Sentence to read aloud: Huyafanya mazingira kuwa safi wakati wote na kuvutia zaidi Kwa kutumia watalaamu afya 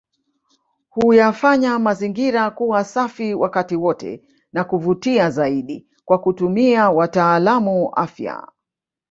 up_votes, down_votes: 1, 2